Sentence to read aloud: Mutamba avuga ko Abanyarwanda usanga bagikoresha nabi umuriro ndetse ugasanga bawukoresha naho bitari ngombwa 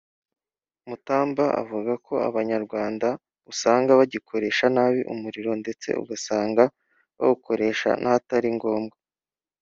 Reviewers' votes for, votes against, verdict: 1, 2, rejected